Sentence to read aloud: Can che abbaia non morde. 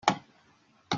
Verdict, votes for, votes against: rejected, 0, 2